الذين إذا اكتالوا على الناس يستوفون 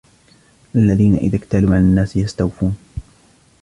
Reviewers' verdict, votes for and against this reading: rejected, 0, 2